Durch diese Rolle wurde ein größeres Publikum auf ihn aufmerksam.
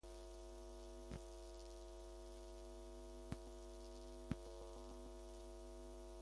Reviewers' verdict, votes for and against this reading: rejected, 0, 2